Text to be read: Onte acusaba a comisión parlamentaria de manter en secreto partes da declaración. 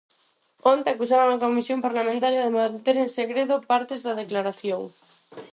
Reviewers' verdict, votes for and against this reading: rejected, 0, 4